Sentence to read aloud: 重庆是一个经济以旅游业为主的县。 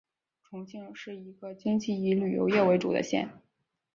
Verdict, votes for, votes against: accepted, 6, 1